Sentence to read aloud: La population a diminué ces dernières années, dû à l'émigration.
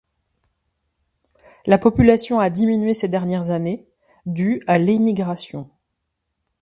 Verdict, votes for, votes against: accepted, 2, 0